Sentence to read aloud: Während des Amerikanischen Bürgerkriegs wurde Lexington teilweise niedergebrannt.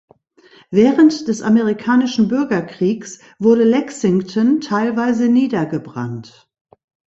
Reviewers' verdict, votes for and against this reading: accepted, 2, 0